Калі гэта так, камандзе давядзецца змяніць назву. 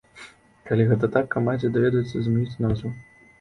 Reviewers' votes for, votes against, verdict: 1, 2, rejected